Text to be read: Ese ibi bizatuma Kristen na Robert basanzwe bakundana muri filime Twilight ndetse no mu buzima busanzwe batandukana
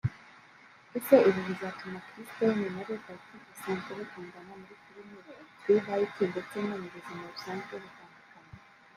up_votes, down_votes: 1, 2